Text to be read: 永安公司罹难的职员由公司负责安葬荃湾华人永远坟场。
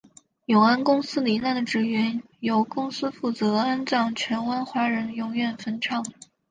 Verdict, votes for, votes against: accepted, 2, 0